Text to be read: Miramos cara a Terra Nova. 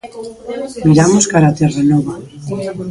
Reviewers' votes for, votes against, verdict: 1, 2, rejected